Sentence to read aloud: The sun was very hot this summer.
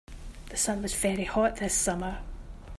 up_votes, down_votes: 2, 0